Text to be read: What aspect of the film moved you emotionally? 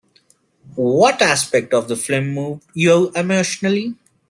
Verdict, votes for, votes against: rejected, 0, 2